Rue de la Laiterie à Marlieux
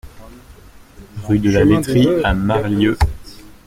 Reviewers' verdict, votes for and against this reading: rejected, 1, 2